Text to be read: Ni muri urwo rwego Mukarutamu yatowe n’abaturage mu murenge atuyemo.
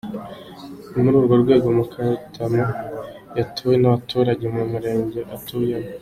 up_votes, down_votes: 2, 0